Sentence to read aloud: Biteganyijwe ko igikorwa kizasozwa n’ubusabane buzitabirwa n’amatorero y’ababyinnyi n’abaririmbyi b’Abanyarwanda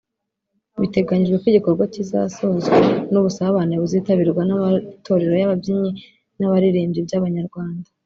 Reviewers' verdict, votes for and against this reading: rejected, 1, 2